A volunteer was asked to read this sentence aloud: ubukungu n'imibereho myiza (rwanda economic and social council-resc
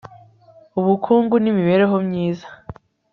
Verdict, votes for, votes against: rejected, 0, 2